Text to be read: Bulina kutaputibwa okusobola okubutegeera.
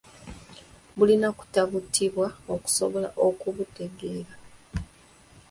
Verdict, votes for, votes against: accepted, 2, 1